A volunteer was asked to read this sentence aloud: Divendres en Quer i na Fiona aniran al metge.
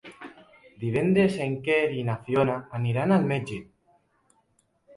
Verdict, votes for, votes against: accepted, 3, 1